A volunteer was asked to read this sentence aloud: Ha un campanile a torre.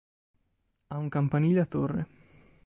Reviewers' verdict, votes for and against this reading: accepted, 2, 0